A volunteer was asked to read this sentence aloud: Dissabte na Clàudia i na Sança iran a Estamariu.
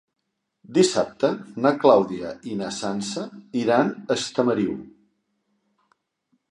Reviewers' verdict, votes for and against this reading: accepted, 3, 0